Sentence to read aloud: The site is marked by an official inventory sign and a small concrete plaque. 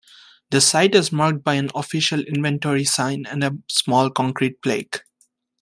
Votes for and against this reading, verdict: 1, 2, rejected